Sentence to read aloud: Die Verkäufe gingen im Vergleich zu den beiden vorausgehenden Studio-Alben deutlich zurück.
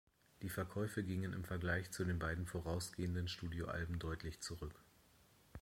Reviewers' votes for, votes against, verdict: 2, 0, accepted